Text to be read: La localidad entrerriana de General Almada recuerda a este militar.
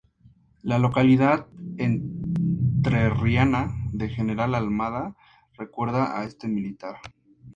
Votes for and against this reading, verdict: 2, 0, accepted